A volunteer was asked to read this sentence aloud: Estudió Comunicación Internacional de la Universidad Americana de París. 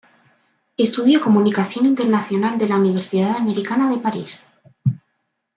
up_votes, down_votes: 2, 0